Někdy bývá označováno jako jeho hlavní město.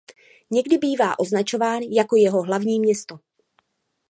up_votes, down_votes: 1, 2